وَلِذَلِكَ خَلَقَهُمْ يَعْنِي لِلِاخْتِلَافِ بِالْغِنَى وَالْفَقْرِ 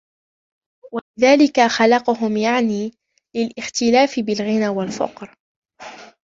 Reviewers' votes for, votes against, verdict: 2, 1, accepted